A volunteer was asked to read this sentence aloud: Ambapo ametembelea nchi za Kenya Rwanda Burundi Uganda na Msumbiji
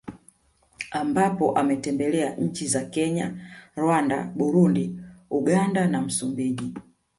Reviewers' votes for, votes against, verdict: 2, 0, accepted